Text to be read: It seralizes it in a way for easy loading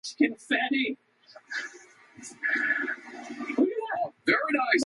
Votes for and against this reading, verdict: 0, 2, rejected